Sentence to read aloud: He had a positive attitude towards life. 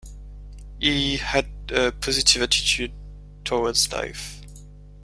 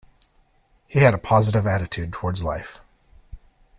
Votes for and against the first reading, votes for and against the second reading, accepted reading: 1, 2, 2, 0, second